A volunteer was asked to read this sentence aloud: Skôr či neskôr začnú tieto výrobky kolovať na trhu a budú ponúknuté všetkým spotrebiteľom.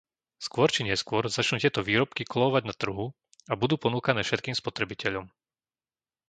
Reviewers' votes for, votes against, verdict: 0, 2, rejected